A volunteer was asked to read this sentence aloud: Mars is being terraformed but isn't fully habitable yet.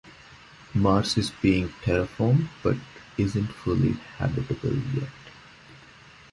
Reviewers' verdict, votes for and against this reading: accepted, 2, 1